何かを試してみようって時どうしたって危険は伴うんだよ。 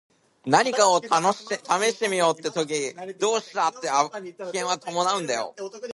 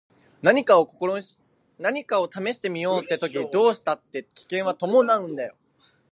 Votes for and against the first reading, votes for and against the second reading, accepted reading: 0, 2, 2, 1, second